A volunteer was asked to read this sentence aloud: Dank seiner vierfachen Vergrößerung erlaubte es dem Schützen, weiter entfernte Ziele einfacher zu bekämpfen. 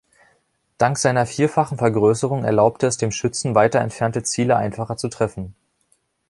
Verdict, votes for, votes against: rejected, 1, 2